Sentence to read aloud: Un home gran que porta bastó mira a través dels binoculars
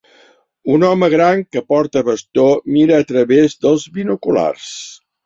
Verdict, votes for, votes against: accepted, 4, 0